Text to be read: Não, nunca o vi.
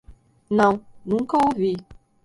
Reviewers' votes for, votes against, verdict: 1, 2, rejected